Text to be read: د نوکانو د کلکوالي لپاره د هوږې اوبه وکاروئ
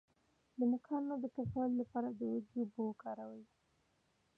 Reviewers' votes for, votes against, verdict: 2, 0, accepted